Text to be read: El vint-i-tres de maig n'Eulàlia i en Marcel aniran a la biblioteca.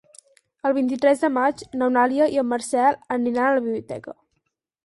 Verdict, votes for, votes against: rejected, 0, 4